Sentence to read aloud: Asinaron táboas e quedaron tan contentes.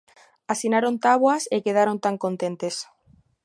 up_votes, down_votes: 2, 0